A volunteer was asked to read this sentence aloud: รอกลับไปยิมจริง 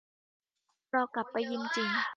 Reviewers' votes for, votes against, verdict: 2, 1, accepted